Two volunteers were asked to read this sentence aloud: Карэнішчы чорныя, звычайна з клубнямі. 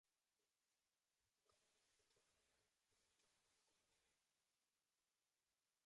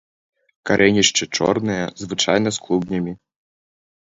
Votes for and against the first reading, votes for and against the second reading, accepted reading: 0, 2, 2, 0, second